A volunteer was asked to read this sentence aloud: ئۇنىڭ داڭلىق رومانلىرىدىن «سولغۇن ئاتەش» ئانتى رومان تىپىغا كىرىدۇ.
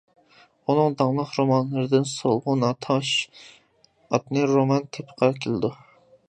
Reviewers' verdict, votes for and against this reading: rejected, 0, 2